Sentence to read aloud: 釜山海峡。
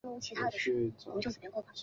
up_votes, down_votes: 2, 6